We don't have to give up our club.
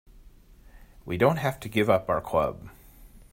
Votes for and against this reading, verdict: 2, 0, accepted